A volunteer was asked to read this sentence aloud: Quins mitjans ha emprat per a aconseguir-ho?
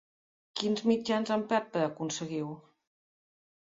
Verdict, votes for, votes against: rejected, 1, 3